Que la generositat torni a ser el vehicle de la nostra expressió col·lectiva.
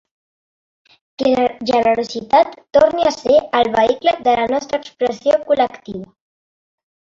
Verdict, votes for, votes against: accepted, 3, 1